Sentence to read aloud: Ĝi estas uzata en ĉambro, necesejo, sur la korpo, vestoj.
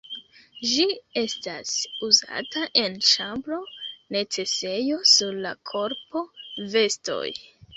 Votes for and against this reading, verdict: 1, 2, rejected